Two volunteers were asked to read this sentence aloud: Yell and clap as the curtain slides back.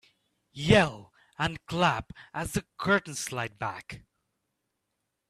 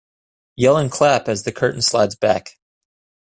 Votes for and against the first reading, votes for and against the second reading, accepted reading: 0, 2, 2, 0, second